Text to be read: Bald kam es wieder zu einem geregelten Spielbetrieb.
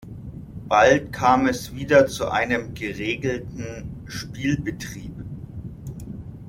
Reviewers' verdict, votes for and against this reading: accepted, 2, 0